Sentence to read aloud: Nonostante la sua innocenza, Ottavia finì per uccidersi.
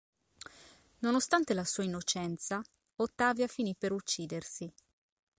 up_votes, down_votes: 2, 0